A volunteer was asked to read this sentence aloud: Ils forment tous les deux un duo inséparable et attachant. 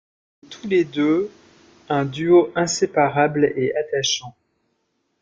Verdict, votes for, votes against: rejected, 0, 2